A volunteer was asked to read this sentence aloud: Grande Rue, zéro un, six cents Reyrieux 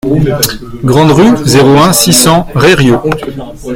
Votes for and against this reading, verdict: 1, 2, rejected